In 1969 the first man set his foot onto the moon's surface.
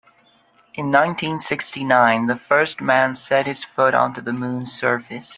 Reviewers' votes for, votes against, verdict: 0, 2, rejected